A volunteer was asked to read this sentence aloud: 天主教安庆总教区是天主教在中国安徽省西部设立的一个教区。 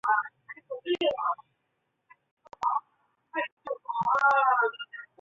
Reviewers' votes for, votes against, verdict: 0, 2, rejected